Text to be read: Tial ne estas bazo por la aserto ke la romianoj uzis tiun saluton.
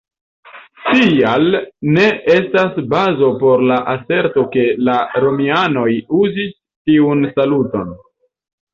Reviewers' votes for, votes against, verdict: 2, 1, accepted